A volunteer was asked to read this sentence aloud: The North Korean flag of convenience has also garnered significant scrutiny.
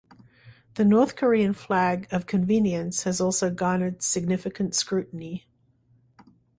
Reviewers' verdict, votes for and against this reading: accepted, 2, 0